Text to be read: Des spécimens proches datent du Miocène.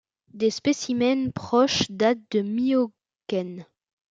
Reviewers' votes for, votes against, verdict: 0, 2, rejected